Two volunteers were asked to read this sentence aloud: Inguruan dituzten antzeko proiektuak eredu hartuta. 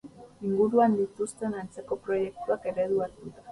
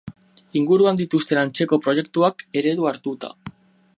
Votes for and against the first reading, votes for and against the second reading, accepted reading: 2, 2, 8, 0, second